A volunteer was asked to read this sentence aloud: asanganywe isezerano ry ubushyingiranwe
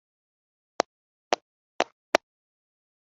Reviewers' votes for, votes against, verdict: 0, 2, rejected